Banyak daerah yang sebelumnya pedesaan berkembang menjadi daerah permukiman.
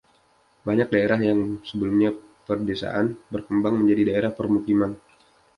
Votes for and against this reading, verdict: 2, 0, accepted